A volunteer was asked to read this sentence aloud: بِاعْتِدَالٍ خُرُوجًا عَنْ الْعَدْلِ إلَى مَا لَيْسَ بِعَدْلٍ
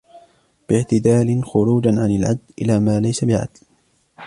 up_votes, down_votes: 1, 2